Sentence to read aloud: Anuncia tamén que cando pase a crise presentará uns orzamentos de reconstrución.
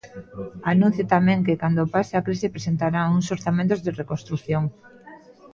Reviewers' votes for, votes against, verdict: 1, 2, rejected